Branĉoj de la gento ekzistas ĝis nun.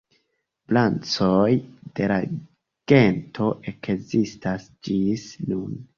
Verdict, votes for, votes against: rejected, 2, 3